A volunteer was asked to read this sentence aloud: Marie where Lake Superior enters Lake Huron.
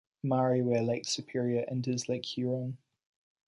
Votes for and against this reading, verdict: 2, 0, accepted